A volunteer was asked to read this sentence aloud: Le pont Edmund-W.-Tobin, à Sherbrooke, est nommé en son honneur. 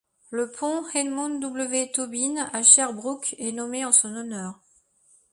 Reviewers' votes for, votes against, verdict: 2, 0, accepted